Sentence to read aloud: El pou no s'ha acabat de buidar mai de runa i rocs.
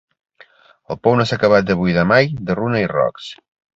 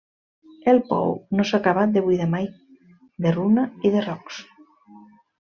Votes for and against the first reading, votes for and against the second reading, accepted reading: 3, 0, 0, 2, first